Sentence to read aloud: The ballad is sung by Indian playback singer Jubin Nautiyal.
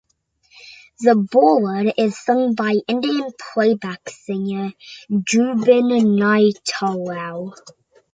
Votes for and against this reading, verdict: 0, 2, rejected